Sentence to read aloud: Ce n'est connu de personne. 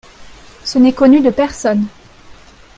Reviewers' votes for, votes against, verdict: 2, 0, accepted